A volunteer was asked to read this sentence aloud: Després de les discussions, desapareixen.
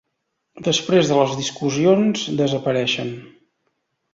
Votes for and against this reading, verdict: 1, 2, rejected